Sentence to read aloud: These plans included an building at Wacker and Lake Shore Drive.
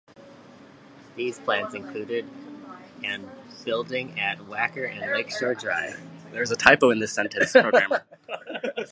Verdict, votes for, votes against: rejected, 0, 2